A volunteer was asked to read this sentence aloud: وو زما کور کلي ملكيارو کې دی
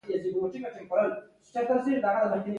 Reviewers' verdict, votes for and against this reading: rejected, 0, 2